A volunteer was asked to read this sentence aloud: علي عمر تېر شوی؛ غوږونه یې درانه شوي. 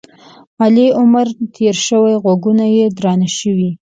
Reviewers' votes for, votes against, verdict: 3, 0, accepted